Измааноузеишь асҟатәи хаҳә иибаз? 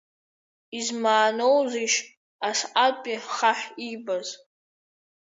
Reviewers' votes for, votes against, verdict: 2, 1, accepted